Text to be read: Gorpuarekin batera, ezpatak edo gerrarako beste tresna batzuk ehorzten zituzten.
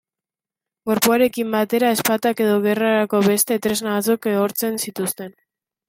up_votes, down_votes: 1, 2